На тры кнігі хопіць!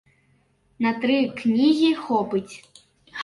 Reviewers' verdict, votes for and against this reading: rejected, 0, 3